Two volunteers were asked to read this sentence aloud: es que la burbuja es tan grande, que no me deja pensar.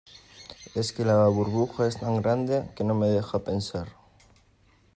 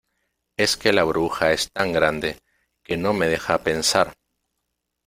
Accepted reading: first